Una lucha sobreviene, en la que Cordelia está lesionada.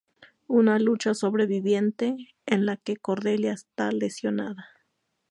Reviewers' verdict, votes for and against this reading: rejected, 0, 2